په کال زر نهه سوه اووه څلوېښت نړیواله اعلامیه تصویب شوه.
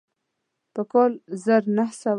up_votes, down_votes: 1, 2